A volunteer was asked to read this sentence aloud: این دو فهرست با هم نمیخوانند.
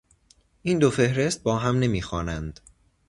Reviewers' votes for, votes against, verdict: 2, 0, accepted